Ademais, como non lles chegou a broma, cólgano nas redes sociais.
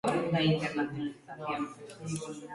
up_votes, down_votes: 0, 2